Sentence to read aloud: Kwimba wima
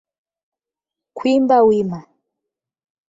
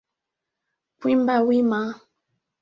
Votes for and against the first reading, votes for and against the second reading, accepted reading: 8, 0, 0, 2, first